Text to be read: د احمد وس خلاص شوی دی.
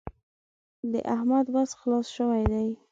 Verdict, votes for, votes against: accepted, 2, 0